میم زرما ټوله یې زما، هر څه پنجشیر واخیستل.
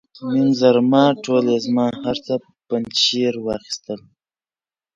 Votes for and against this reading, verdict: 2, 0, accepted